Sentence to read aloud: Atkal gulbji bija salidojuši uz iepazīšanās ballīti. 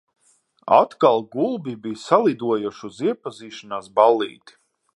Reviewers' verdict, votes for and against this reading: accepted, 6, 0